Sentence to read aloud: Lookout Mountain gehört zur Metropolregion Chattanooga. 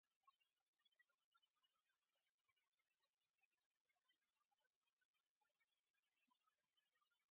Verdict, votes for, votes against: rejected, 0, 3